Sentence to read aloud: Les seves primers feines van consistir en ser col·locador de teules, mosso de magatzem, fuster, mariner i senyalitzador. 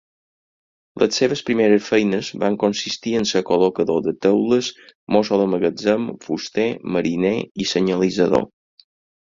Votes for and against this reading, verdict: 4, 0, accepted